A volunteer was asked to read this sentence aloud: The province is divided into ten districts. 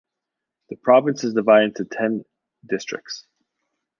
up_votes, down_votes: 1, 2